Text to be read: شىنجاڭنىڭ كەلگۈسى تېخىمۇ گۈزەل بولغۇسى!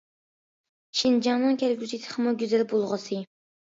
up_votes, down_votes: 2, 0